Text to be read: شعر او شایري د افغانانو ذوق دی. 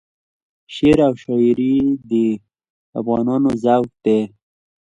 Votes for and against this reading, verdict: 2, 0, accepted